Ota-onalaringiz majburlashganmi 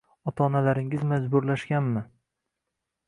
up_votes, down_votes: 2, 0